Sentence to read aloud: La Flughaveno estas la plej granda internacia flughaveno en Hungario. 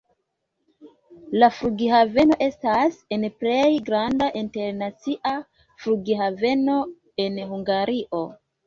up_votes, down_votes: 0, 2